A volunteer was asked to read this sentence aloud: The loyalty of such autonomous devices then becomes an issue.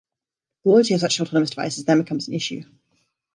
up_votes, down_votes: 1, 2